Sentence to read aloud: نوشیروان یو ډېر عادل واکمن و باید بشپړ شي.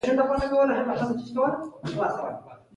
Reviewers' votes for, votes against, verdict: 2, 0, accepted